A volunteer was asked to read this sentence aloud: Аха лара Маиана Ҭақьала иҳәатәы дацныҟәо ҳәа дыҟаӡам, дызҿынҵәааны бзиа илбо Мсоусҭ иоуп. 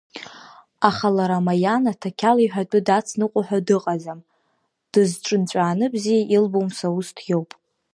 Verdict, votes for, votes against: accepted, 2, 0